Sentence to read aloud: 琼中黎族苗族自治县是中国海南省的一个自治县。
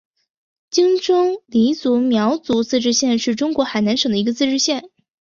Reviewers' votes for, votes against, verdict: 2, 1, accepted